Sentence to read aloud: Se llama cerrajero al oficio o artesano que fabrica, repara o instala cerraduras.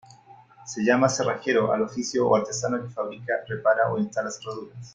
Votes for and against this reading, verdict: 2, 0, accepted